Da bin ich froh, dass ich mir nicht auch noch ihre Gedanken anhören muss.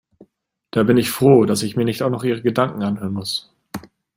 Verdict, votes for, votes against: accepted, 2, 0